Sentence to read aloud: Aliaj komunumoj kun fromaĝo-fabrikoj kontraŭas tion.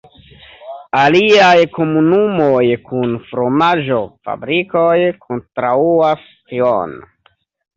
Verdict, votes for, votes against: accepted, 2, 0